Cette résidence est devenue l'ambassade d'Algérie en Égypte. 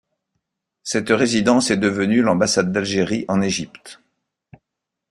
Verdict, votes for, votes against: accepted, 2, 0